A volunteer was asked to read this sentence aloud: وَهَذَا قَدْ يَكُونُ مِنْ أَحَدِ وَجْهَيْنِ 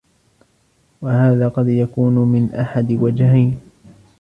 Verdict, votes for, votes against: accepted, 2, 1